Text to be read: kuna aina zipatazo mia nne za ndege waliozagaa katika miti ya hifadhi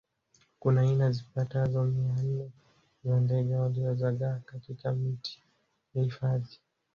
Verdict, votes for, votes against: accepted, 2, 0